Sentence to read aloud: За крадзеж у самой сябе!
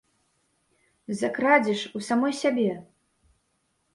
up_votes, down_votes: 2, 1